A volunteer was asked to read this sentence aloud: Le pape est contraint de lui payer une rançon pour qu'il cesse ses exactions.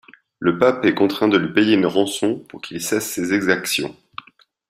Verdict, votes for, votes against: accepted, 2, 0